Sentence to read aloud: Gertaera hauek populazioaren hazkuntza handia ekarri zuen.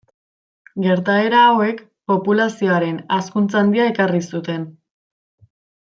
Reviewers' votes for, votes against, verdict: 0, 2, rejected